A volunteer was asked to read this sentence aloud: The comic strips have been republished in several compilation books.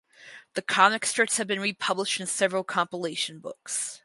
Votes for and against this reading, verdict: 4, 0, accepted